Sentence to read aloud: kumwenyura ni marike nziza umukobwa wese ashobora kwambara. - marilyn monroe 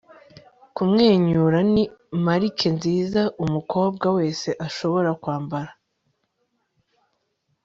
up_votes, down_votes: 1, 2